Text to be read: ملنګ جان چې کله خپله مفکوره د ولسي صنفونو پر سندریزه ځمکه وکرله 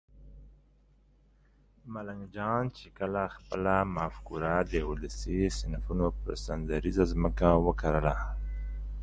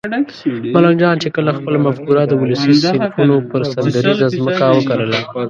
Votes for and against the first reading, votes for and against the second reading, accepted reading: 2, 0, 1, 2, first